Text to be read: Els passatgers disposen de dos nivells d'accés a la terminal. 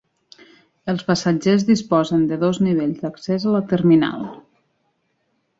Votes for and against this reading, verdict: 3, 1, accepted